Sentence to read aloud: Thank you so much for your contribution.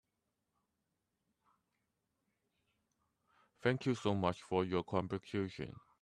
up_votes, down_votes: 1, 2